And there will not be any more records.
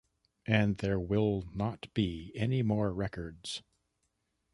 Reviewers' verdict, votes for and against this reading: accepted, 2, 0